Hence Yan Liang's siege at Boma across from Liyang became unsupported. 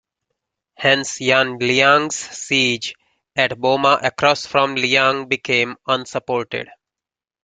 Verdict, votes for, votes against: accepted, 2, 0